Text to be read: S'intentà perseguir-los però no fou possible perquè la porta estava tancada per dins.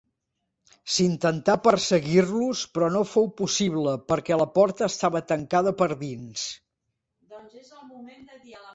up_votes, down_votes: 2, 0